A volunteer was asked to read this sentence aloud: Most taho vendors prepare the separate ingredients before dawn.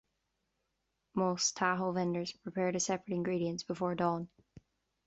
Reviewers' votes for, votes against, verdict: 2, 0, accepted